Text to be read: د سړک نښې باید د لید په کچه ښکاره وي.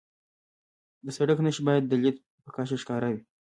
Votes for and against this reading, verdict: 0, 2, rejected